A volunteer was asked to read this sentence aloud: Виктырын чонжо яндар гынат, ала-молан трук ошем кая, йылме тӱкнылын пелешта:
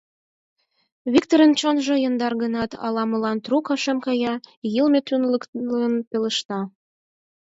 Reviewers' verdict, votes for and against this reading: rejected, 0, 4